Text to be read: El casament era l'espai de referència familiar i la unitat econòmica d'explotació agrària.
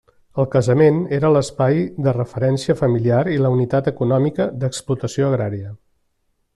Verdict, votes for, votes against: accepted, 3, 0